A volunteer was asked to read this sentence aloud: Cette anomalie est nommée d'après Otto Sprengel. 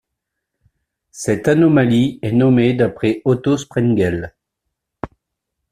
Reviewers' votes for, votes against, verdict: 2, 0, accepted